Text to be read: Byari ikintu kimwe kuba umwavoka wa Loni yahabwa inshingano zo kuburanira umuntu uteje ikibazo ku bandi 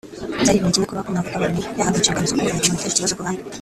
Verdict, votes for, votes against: rejected, 0, 2